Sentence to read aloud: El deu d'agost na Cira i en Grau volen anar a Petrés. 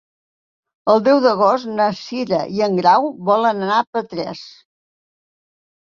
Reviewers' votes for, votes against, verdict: 3, 0, accepted